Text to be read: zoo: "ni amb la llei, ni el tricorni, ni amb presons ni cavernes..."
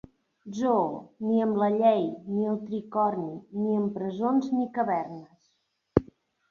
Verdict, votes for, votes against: accepted, 6, 1